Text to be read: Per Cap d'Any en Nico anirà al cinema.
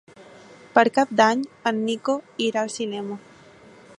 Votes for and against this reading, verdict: 0, 3, rejected